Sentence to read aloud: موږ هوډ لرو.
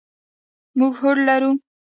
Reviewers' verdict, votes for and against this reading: rejected, 1, 2